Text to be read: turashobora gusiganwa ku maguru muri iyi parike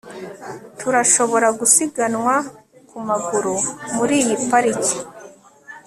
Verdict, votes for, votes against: accepted, 2, 0